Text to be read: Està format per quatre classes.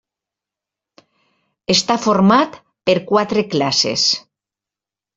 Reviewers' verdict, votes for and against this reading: accepted, 3, 0